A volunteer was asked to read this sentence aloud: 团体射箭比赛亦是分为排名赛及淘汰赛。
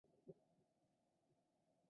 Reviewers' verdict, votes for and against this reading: rejected, 1, 2